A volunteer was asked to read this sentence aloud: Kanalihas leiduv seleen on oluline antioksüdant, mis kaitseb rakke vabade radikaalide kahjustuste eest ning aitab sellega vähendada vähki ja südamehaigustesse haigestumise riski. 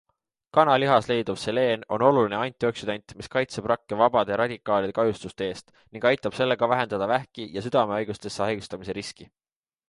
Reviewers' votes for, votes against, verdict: 2, 0, accepted